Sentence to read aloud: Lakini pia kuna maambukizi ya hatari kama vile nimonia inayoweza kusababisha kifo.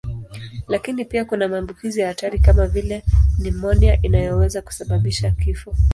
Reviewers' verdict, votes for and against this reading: accepted, 2, 0